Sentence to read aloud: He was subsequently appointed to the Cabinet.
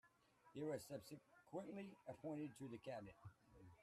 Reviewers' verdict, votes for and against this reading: rejected, 0, 2